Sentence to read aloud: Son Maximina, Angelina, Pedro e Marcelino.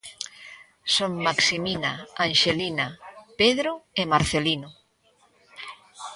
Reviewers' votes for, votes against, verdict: 1, 2, rejected